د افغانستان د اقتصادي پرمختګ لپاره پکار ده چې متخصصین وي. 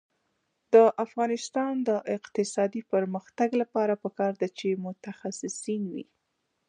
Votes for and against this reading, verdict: 2, 0, accepted